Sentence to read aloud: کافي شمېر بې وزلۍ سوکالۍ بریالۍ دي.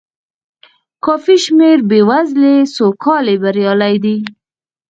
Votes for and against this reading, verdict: 0, 4, rejected